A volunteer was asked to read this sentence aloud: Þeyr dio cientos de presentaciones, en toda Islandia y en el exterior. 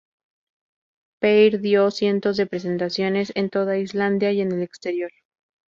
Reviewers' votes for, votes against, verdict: 0, 2, rejected